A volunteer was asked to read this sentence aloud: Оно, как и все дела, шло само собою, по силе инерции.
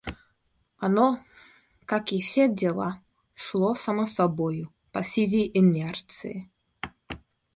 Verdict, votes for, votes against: accepted, 2, 0